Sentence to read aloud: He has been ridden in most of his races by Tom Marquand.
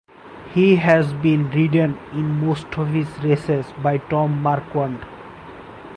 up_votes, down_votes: 6, 0